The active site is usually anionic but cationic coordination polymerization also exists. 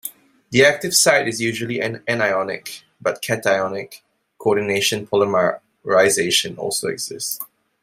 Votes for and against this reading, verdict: 2, 1, accepted